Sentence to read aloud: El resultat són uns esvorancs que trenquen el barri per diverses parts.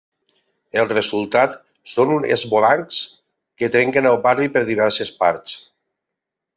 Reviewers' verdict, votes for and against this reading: rejected, 1, 2